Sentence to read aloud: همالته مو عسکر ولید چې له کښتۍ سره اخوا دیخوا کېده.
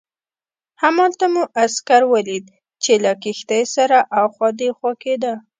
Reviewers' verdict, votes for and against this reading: accepted, 2, 0